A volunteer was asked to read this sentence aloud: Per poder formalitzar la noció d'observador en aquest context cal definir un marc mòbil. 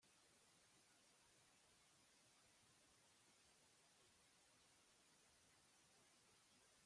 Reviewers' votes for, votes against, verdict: 0, 2, rejected